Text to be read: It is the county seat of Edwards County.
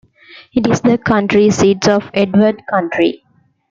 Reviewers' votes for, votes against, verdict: 0, 2, rejected